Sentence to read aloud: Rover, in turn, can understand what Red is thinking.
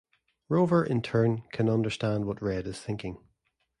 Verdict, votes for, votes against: accepted, 2, 0